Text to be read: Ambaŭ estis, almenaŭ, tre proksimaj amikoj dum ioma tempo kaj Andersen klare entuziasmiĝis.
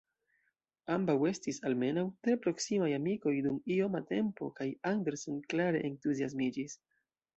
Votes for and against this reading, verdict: 2, 0, accepted